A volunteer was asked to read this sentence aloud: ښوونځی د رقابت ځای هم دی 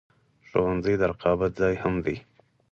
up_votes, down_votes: 4, 2